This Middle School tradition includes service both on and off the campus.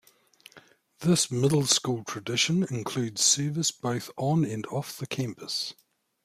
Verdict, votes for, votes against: accepted, 2, 0